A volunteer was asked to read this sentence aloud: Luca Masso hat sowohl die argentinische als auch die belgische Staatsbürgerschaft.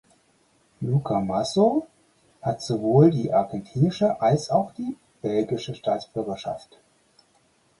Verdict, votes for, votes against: accepted, 4, 0